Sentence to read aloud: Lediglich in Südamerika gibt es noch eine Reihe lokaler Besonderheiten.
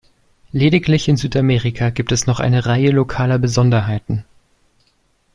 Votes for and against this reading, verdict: 2, 0, accepted